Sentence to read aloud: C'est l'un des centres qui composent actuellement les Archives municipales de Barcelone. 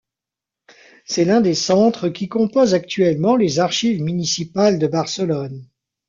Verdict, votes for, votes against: rejected, 1, 2